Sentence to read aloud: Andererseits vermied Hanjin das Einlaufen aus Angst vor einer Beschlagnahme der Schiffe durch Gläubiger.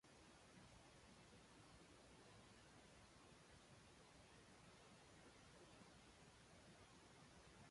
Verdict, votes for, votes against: rejected, 0, 2